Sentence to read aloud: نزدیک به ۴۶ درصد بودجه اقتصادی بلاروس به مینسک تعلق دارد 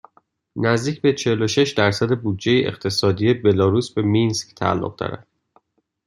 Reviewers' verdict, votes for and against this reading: rejected, 0, 2